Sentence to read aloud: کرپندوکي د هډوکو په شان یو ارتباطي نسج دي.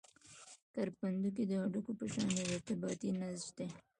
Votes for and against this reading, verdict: 1, 2, rejected